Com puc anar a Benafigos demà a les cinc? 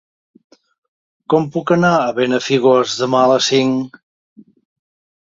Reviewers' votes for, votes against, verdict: 2, 0, accepted